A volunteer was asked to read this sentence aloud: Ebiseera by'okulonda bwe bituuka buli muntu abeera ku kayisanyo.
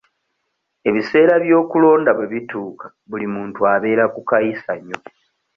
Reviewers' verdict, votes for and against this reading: accepted, 2, 0